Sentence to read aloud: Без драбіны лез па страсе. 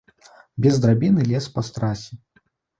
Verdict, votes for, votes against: rejected, 0, 2